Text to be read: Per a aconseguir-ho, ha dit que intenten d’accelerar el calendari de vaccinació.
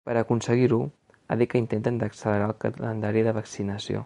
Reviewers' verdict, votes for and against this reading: accepted, 2, 0